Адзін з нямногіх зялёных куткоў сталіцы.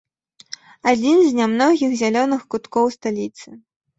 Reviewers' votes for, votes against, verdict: 2, 0, accepted